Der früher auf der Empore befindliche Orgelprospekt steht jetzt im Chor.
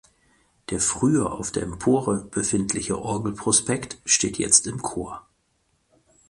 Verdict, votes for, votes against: accepted, 4, 0